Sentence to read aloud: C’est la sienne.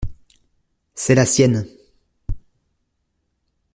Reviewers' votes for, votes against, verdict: 2, 0, accepted